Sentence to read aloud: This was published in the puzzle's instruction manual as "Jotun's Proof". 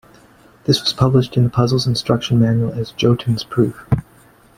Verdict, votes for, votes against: accepted, 2, 0